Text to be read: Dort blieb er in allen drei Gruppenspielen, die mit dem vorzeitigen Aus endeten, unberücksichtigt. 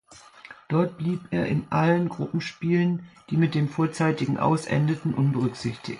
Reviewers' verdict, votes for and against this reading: rejected, 0, 2